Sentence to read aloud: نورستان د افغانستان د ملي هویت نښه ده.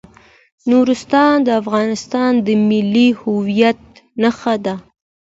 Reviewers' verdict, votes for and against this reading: accepted, 2, 0